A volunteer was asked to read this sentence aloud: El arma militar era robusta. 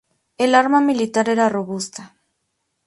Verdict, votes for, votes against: accepted, 4, 0